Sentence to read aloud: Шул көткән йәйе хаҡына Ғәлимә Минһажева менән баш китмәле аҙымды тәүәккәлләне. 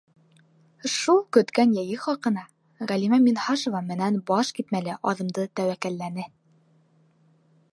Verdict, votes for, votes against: accepted, 2, 0